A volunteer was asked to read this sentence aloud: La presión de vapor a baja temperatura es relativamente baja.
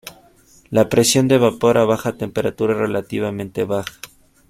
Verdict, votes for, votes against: rejected, 1, 2